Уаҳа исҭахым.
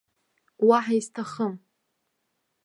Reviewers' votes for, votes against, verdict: 1, 2, rejected